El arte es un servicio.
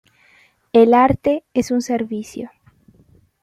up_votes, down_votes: 1, 2